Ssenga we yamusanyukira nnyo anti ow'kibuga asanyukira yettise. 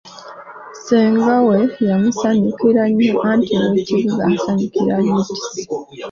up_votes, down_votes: 2, 1